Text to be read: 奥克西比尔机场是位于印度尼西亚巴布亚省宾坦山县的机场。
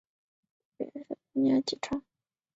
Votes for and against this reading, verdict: 0, 3, rejected